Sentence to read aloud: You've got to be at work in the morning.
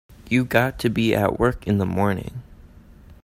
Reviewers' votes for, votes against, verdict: 0, 2, rejected